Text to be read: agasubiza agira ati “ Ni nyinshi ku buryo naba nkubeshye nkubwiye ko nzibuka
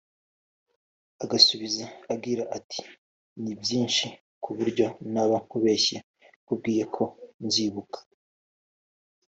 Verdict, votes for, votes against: accepted, 2, 1